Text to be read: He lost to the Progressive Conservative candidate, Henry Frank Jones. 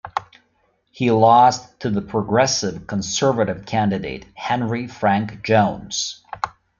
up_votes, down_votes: 2, 0